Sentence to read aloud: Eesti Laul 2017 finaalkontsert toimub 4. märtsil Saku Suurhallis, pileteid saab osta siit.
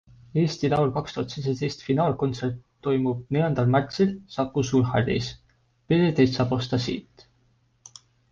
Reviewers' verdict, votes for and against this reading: rejected, 0, 2